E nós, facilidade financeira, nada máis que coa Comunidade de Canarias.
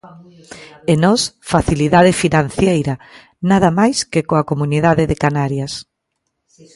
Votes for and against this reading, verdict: 1, 2, rejected